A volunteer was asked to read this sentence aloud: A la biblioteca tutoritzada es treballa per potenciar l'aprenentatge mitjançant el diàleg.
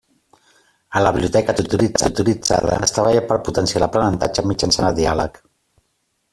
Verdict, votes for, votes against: rejected, 1, 2